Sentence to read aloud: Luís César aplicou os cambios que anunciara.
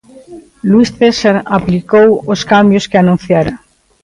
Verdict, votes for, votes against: accepted, 2, 0